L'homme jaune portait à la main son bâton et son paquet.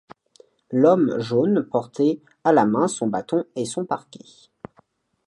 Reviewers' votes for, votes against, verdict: 1, 2, rejected